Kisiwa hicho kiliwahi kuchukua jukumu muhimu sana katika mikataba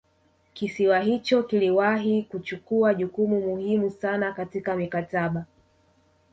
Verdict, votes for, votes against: rejected, 0, 2